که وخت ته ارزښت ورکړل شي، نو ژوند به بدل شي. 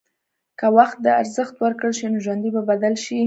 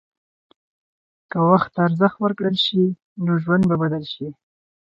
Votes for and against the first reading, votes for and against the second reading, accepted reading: 2, 0, 2, 2, first